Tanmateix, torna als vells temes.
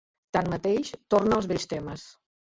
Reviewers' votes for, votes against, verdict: 2, 1, accepted